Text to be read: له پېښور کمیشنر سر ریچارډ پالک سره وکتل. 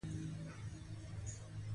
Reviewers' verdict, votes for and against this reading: rejected, 0, 3